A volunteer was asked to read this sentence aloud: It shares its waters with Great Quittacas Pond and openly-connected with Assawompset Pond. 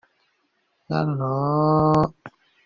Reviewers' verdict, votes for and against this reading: rejected, 0, 2